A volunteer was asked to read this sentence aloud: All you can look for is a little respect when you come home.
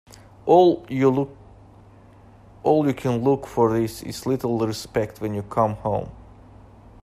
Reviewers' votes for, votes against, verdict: 1, 2, rejected